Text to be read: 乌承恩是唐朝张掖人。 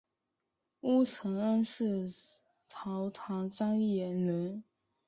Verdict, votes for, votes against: accepted, 2, 0